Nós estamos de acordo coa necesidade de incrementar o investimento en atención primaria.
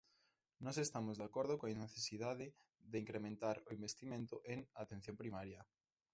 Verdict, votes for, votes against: accepted, 2, 1